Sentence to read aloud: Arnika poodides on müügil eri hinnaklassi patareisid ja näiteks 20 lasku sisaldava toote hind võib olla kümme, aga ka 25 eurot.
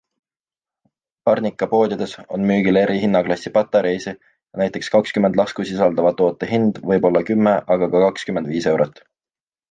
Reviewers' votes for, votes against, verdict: 0, 2, rejected